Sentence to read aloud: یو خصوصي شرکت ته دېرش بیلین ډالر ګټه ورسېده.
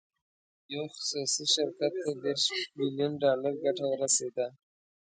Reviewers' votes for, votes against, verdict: 1, 2, rejected